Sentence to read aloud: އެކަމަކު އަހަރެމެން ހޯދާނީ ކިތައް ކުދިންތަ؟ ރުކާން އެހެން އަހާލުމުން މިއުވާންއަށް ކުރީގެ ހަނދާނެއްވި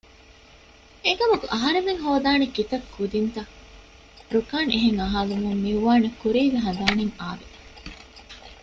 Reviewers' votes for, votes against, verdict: 1, 2, rejected